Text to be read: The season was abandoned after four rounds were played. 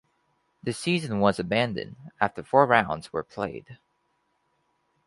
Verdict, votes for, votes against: accepted, 4, 0